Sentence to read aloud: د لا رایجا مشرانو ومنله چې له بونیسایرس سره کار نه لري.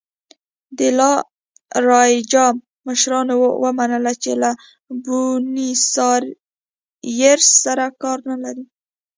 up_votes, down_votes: 2, 0